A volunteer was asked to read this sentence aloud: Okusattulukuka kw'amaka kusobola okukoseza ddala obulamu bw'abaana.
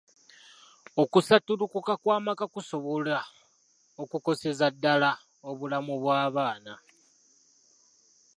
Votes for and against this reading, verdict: 2, 0, accepted